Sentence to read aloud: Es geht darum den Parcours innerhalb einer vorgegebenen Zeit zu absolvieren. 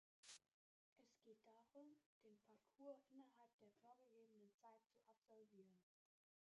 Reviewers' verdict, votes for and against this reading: rejected, 0, 3